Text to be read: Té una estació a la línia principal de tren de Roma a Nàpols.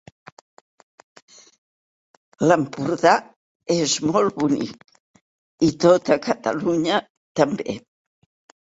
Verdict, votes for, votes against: rejected, 0, 4